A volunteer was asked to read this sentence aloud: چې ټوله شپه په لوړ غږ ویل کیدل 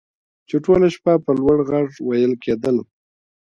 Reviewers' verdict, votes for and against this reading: rejected, 1, 2